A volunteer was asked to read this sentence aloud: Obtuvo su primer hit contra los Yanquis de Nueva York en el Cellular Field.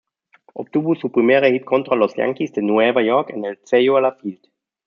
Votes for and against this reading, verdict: 2, 0, accepted